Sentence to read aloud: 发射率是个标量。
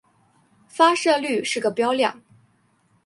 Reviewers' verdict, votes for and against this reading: accepted, 2, 0